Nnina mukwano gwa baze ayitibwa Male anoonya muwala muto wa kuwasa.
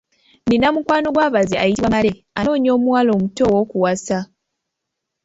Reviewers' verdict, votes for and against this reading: rejected, 1, 3